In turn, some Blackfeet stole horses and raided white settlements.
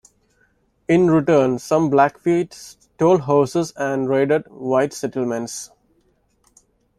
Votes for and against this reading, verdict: 0, 2, rejected